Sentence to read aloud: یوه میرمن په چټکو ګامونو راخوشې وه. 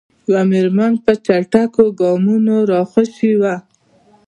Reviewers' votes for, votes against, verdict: 0, 2, rejected